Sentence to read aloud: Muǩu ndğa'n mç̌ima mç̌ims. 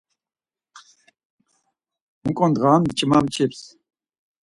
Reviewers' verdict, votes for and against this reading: accepted, 4, 0